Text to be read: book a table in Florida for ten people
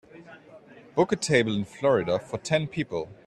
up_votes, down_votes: 3, 0